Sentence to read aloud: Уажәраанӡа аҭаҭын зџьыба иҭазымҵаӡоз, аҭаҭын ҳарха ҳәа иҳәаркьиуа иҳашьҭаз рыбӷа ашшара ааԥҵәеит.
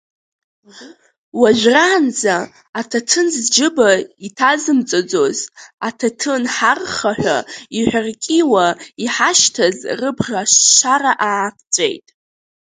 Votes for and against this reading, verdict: 1, 2, rejected